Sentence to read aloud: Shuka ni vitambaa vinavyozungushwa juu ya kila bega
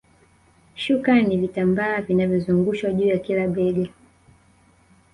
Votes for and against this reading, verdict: 2, 0, accepted